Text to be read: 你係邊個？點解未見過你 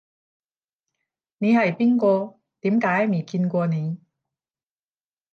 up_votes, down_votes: 5, 10